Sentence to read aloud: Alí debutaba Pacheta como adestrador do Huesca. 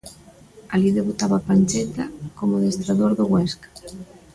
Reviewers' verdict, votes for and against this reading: rejected, 1, 2